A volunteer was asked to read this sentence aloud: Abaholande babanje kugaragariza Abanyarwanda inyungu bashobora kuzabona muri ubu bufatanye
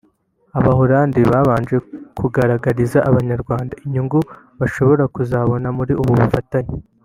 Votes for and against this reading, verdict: 1, 2, rejected